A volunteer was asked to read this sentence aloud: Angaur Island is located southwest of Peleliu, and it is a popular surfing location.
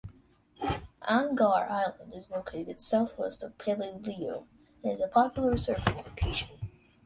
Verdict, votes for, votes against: accepted, 2, 0